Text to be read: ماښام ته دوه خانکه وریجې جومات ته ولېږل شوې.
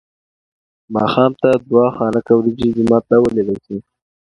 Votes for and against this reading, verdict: 2, 0, accepted